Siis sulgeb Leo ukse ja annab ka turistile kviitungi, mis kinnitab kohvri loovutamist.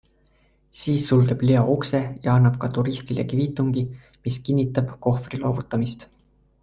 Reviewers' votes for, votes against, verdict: 2, 0, accepted